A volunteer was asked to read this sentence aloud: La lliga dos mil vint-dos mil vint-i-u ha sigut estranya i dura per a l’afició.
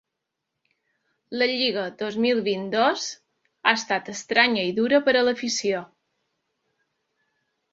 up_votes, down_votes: 0, 2